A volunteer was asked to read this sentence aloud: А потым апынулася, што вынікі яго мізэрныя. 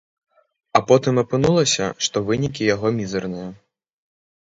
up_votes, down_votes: 1, 2